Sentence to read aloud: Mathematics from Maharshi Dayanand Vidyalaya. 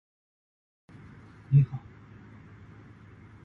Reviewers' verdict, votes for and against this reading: rejected, 0, 2